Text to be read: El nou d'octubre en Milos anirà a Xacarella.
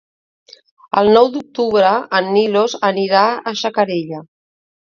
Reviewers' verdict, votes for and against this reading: accepted, 2, 0